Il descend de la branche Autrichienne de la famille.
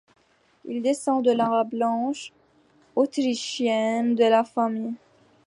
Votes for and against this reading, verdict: 2, 1, accepted